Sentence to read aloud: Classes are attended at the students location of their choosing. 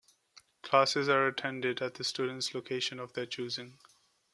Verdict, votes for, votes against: accepted, 2, 0